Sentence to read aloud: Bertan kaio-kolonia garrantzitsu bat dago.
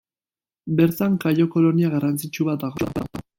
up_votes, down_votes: 1, 2